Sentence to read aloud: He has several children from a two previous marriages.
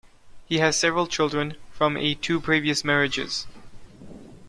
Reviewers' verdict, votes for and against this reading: accepted, 2, 0